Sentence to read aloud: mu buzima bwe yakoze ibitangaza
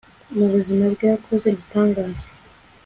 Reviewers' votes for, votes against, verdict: 2, 0, accepted